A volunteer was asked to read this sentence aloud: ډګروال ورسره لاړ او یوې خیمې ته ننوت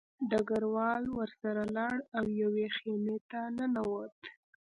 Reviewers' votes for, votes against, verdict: 2, 0, accepted